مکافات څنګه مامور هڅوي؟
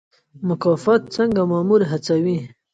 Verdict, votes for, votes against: rejected, 0, 2